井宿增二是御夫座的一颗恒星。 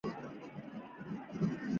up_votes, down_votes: 0, 3